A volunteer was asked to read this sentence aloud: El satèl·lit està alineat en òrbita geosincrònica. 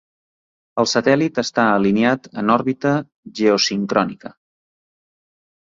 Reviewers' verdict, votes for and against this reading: accepted, 3, 0